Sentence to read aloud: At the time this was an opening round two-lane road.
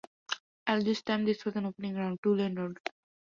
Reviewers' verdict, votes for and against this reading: rejected, 0, 2